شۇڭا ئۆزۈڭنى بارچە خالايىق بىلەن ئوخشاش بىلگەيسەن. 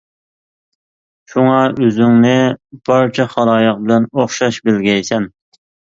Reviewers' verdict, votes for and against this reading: accepted, 2, 0